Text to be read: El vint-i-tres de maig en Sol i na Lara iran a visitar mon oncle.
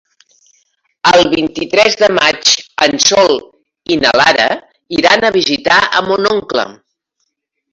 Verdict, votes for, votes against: rejected, 0, 2